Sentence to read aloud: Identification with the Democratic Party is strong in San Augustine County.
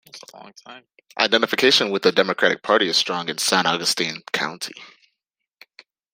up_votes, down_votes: 0, 2